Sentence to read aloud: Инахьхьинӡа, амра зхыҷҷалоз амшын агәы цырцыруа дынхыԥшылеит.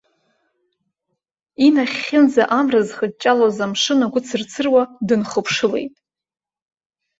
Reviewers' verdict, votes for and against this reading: accepted, 2, 1